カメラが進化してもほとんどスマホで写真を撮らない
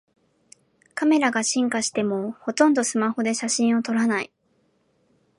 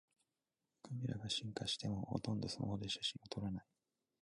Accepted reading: first